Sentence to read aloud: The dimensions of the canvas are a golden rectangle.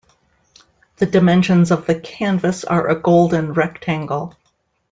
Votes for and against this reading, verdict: 2, 0, accepted